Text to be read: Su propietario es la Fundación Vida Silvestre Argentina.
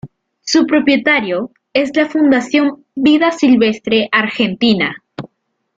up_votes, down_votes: 2, 0